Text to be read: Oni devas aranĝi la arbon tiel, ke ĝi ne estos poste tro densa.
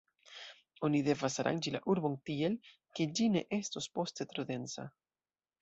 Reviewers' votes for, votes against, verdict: 2, 1, accepted